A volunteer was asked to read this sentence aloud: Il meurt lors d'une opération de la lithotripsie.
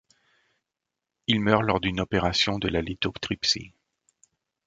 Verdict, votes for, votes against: rejected, 1, 2